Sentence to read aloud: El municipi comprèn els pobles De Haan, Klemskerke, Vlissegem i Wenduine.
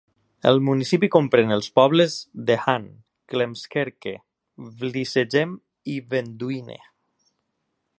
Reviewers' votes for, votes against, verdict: 0, 2, rejected